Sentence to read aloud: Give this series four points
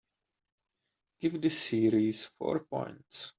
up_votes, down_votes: 2, 0